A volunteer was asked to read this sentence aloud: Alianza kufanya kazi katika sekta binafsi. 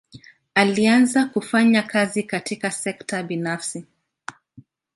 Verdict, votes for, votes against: accepted, 2, 0